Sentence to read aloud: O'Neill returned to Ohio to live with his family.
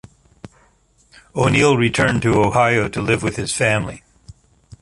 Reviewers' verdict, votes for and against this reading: accepted, 2, 0